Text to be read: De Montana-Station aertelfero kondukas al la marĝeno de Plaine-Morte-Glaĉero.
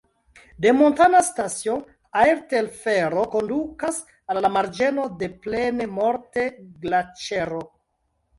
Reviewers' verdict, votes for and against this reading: rejected, 1, 2